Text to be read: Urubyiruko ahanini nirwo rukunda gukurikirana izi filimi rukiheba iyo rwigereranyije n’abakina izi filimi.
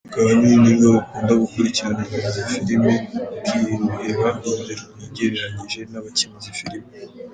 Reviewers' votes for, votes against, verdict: 0, 2, rejected